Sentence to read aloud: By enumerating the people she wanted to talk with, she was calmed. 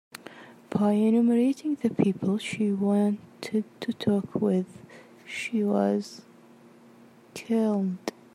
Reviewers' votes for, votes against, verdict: 1, 2, rejected